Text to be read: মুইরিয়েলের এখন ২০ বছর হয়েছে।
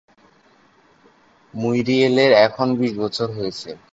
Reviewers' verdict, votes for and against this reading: rejected, 0, 2